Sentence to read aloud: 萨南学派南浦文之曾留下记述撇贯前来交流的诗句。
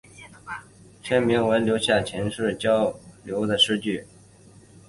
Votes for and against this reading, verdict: 5, 3, accepted